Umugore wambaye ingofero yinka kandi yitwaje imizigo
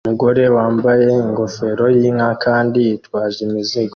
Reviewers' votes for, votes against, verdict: 2, 1, accepted